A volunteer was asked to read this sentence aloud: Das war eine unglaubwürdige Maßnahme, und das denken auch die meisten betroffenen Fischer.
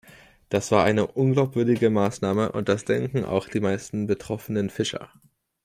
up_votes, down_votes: 2, 0